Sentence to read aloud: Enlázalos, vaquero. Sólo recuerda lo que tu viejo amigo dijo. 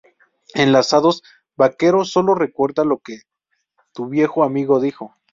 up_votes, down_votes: 0, 4